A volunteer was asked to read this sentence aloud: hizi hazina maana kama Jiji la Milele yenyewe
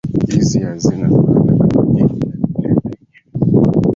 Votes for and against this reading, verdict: 0, 2, rejected